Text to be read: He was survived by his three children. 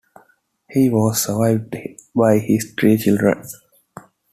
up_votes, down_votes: 2, 0